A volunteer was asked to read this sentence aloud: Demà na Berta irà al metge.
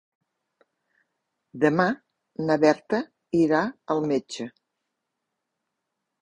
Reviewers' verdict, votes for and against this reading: accepted, 3, 0